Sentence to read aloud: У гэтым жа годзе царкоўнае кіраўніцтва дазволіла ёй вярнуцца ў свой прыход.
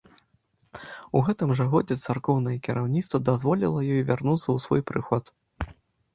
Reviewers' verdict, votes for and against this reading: accepted, 2, 0